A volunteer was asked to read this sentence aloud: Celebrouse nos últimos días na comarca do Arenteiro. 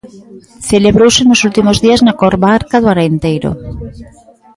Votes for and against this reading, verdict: 0, 2, rejected